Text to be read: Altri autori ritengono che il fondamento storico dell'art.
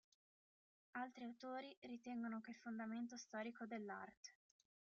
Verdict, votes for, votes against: rejected, 1, 2